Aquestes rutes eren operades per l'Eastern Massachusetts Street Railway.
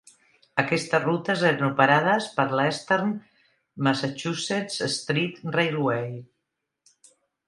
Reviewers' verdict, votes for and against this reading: rejected, 0, 2